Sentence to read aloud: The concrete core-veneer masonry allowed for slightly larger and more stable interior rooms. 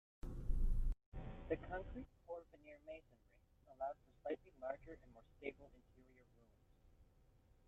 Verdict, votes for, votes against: rejected, 0, 2